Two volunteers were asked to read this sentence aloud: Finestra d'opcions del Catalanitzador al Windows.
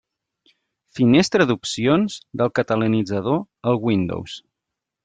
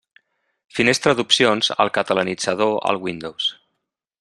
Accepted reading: first